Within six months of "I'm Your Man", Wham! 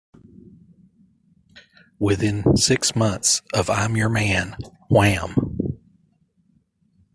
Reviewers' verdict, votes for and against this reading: accepted, 3, 0